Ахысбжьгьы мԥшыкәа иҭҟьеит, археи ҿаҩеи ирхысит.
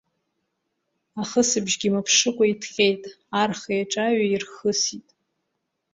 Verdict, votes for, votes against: rejected, 1, 2